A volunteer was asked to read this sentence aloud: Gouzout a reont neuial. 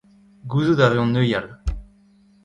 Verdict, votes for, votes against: accepted, 2, 1